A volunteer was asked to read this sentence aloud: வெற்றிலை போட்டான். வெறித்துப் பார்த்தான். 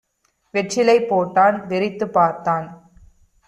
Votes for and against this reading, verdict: 2, 0, accepted